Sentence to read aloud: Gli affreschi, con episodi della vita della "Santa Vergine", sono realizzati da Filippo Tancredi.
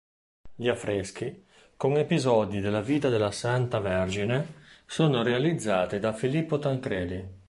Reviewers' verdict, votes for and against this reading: accepted, 2, 0